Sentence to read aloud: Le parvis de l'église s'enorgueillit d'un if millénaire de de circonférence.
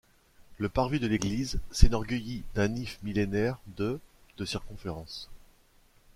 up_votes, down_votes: 0, 2